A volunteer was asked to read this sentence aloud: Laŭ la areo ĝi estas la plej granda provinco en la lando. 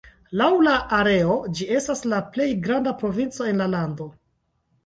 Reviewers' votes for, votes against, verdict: 2, 0, accepted